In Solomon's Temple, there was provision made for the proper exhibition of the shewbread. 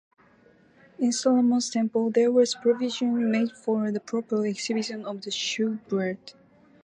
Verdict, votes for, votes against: accepted, 4, 0